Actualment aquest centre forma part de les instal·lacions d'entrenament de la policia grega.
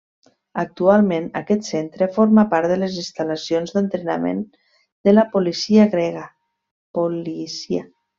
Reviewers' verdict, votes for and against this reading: rejected, 1, 2